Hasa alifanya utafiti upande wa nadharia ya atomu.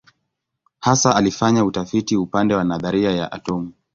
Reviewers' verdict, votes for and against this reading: accepted, 2, 0